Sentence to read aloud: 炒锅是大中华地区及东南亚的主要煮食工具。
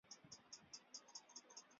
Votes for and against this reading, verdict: 0, 4, rejected